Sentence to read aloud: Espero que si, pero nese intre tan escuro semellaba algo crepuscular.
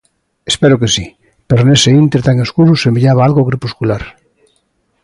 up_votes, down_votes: 2, 0